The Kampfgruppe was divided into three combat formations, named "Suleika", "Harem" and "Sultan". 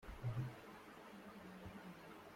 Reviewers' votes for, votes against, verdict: 0, 2, rejected